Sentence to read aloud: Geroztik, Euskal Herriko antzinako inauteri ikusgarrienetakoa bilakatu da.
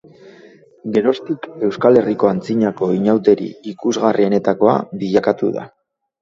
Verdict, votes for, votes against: rejected, 1, 2